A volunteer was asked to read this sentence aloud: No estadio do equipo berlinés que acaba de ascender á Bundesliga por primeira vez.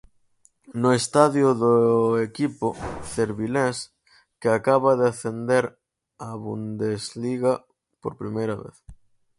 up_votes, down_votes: 0, 4